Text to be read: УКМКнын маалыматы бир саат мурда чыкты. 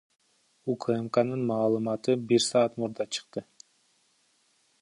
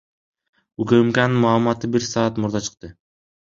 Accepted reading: second